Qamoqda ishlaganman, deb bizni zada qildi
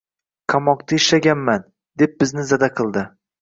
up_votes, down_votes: 2, 0